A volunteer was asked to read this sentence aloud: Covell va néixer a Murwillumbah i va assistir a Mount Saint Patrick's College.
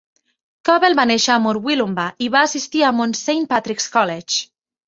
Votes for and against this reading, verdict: 2, 0, accepted